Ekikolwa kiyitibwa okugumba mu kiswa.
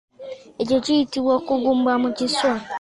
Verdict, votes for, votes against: rejected, 1, 2